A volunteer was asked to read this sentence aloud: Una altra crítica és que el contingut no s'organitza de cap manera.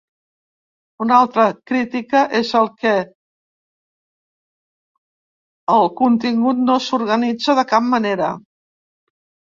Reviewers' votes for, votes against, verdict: 0, 3, rejected